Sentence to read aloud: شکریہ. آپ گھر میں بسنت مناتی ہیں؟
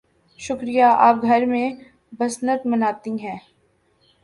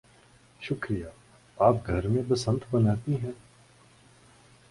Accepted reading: second